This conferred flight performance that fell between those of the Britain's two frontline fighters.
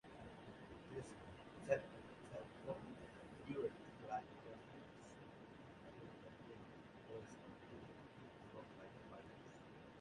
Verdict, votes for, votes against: rejected, 0, 2